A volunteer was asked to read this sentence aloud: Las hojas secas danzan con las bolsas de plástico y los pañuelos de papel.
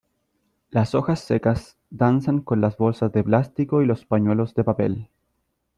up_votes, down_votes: 2, 0